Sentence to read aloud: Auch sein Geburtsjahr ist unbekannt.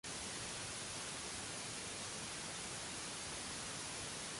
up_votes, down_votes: 0, 2